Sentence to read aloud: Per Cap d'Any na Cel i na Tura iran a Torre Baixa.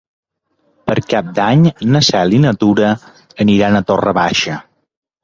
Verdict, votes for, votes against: rejected, 1, 2